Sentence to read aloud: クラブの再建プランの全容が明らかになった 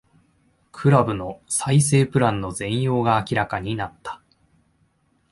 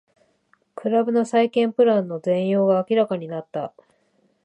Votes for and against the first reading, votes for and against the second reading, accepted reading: 0, 2, 3, 0, second